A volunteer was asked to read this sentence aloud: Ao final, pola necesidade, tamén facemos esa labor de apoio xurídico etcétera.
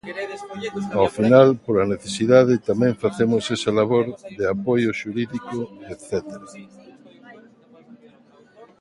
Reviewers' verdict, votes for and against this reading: rejected, 0, 2